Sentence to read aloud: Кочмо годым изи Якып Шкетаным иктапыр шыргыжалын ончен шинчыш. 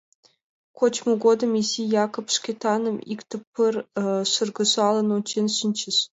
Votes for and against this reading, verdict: 1, 2, rejected